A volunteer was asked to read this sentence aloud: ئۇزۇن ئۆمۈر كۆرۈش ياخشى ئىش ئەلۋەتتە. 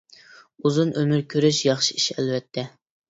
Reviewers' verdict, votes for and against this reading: accepted, 2, 0